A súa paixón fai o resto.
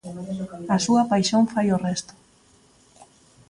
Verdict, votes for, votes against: accepted, 2, 1